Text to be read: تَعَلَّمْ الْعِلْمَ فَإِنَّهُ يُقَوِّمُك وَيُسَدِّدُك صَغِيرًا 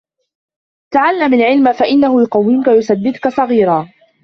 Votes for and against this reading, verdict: 0, 2, rejected